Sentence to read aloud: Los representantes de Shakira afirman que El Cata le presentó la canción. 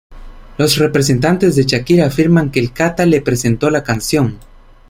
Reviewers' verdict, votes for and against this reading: accepted, 2, 0